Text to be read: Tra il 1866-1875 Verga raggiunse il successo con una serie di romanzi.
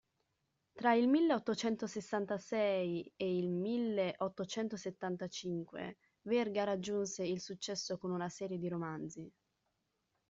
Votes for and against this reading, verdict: 0, 2, rejected